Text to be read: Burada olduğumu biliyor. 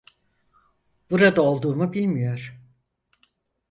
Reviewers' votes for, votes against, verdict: 2, 4, rejected